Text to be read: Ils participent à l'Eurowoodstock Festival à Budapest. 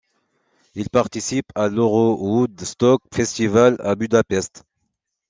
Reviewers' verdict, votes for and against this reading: accepted, 2, 1